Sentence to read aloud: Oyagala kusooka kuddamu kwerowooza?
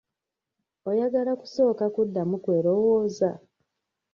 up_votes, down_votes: 1, 2